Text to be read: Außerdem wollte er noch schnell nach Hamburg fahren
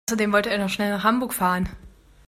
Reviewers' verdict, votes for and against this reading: rejected, 1, 2